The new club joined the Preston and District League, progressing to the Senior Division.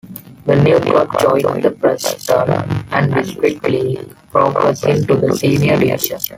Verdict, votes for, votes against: rejected, 1, 2